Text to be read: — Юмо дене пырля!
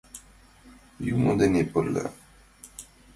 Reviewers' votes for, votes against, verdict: 2, 0, accepted